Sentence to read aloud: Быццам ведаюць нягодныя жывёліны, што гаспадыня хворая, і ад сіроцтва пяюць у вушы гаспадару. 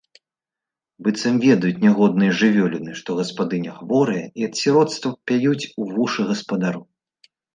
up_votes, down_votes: 2, 0